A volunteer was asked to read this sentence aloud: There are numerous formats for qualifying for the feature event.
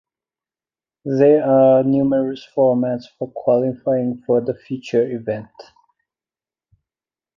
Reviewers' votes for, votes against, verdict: 1, 2, rejected